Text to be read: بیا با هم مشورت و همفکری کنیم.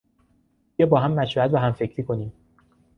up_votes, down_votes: 2, 0